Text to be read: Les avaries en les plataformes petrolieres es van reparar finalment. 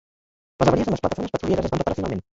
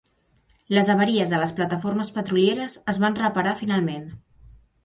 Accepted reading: second